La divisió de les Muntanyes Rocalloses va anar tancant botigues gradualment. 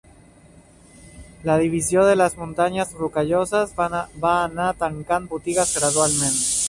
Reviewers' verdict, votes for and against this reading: rejected, 1, 2